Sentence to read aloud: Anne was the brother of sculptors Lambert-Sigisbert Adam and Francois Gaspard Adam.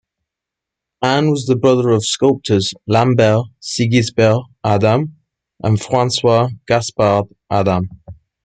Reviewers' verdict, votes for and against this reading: rejected, 0, 2